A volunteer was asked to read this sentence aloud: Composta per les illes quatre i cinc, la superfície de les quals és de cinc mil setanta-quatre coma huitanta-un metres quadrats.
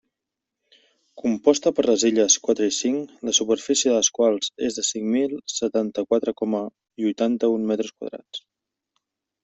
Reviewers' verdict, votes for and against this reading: accepted, 2, 0